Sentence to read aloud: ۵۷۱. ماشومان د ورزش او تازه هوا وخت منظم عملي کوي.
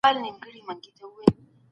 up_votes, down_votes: 0, 2